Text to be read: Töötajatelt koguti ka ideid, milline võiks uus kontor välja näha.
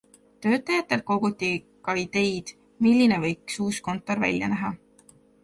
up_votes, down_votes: 2, 1